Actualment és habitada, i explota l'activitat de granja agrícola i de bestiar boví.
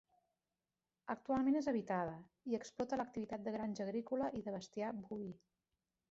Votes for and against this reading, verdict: 0, 2, rejected